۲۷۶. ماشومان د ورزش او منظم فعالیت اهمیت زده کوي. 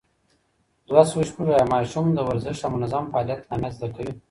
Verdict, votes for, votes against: rejected, 0, 2